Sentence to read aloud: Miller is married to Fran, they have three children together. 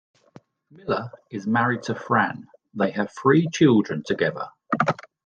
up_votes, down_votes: 2, 1